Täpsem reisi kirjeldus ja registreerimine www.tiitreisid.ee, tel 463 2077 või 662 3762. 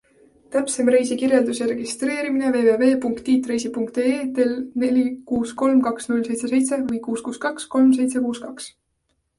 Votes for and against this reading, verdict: 0, 2, rejected